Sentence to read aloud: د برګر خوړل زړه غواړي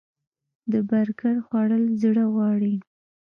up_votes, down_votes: 2, 0